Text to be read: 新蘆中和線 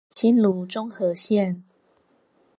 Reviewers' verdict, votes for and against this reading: accepted, 4, 0